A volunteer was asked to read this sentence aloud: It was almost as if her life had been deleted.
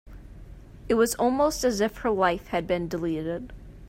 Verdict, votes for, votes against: accepted, 3, 0